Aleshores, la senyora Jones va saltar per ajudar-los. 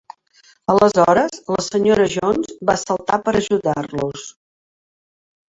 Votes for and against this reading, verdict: 0, 2, rejected